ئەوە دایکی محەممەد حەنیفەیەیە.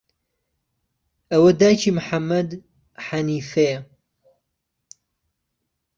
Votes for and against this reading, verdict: 2, 0, accepted